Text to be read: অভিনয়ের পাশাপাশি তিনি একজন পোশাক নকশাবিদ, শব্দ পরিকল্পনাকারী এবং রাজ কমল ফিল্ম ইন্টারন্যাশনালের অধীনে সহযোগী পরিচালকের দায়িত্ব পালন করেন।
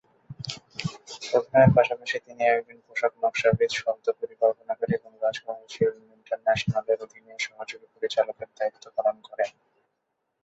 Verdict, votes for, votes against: rejected, 0, 2